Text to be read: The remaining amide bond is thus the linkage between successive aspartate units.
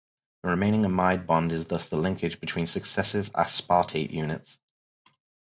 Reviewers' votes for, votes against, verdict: 4, 2, accepted